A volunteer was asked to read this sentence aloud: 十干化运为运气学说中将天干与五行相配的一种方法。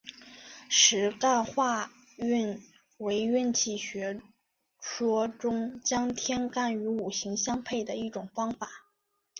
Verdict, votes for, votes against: accepted, 5, 1